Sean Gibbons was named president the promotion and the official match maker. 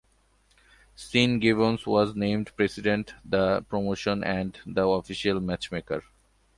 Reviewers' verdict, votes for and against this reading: accepted, 2, 1